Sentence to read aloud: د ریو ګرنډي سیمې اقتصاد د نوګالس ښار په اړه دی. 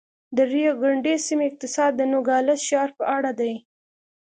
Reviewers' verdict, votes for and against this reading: accepted, 2, 1